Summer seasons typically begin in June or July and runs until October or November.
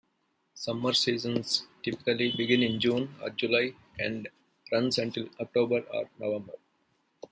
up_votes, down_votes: 2, 0